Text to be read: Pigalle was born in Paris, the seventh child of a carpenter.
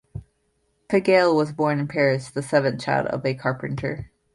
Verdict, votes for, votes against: accepted, 2, 0